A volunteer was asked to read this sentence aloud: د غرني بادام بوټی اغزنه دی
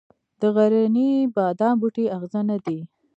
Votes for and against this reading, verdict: 2, 0, accepted